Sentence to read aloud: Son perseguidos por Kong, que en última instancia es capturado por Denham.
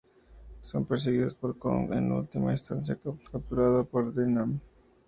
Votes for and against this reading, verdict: 0, 4, rejected